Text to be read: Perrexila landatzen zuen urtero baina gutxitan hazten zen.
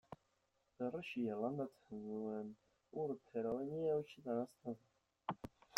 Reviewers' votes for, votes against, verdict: 0, 2, rejected